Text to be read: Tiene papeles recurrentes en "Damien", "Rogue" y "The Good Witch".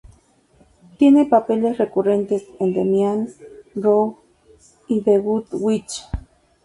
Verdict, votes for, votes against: accepted, 2, 0